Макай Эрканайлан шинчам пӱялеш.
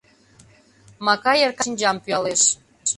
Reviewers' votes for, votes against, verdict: 0, 2, rejected